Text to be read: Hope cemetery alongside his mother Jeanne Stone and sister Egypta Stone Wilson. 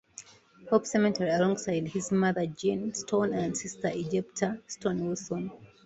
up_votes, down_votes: 2, 1